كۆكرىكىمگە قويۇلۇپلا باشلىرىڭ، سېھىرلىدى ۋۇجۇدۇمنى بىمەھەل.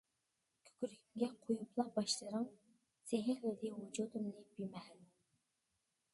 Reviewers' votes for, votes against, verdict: 0, 2, rejected